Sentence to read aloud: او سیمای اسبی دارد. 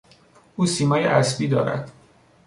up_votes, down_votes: 3, 0